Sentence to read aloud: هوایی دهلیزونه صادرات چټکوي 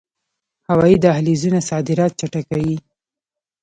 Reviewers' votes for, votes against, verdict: 2, 0, accepted